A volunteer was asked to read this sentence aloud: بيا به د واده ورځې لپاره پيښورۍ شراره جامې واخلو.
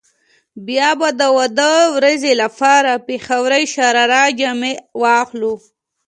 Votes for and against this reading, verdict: 2, 0, accepted